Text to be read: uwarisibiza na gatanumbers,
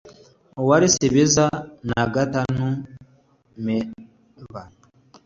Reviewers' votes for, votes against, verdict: 2, 0, accepted